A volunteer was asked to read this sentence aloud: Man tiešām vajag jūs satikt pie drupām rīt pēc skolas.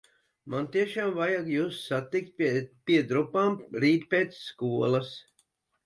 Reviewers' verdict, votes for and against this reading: rejected, 1, 2